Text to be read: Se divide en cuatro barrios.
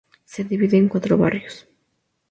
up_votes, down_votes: 2, 0